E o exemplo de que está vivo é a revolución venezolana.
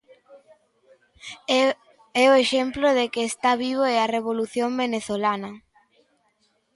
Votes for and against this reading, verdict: 0, 2, rejected